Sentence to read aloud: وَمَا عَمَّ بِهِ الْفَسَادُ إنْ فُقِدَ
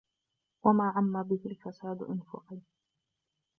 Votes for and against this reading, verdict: 0, 2, rejected